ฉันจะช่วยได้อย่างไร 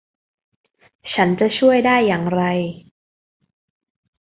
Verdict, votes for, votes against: accepted, 2, 0